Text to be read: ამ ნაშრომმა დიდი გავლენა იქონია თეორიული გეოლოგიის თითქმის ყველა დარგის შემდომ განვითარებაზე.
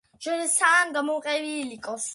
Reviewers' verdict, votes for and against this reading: rejected, 0, 2